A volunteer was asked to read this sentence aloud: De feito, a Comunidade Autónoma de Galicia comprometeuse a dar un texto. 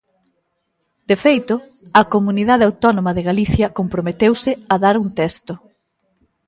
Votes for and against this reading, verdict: 2, 0, accepted